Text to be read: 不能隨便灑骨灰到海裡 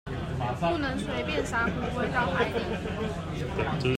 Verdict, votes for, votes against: rejected, 0, 2